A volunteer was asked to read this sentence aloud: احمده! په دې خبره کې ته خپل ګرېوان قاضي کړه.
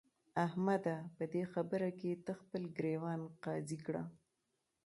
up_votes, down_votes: 2, 1